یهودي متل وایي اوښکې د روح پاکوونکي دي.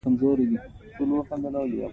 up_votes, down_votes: 2, 3